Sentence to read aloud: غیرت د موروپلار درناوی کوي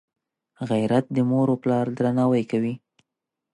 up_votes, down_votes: 2, 0